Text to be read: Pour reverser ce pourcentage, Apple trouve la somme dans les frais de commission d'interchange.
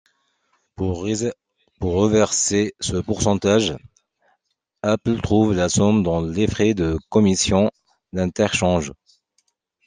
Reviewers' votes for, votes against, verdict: 1, 2, rejected